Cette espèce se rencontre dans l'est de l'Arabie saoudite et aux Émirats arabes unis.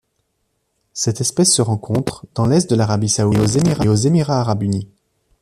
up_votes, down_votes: 0, 2